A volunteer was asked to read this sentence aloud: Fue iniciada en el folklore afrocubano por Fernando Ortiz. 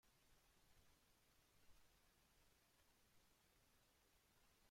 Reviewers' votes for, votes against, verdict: 0, 2, rejected